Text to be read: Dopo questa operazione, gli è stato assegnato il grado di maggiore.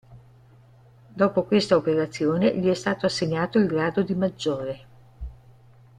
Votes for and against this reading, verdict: 2, 0, accepted